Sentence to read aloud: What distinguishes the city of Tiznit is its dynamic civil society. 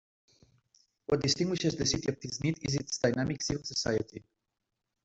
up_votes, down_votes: 0, 3